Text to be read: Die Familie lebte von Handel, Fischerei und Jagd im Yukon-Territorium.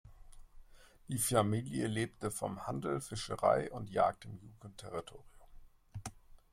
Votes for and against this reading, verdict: 1, 2, rejected